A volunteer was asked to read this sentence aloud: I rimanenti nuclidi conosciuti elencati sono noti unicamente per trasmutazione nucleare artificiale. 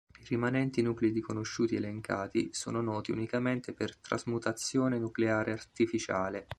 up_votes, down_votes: 2, 1